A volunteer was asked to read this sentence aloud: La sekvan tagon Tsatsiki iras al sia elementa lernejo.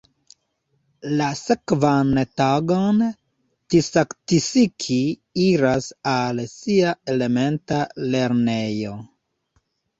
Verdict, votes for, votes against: accepted, 2, 0